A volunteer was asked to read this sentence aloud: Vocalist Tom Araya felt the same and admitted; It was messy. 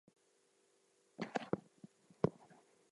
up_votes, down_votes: 0, 4